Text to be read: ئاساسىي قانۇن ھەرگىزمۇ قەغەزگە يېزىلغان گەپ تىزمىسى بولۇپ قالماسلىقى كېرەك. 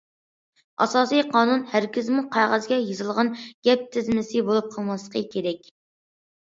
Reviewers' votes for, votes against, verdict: 2, 0, accepted